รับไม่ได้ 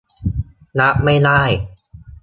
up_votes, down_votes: 2, 0